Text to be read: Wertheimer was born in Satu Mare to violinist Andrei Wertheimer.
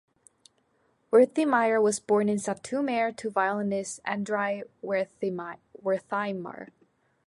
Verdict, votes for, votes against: rejected, 1, 2